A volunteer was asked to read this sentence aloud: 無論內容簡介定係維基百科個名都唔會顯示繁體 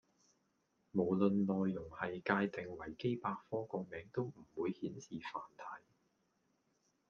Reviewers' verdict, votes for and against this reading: rejected, 1, 2